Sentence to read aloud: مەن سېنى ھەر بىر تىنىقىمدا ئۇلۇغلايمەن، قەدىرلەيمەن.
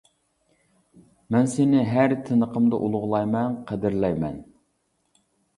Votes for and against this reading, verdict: 0, 2, rejected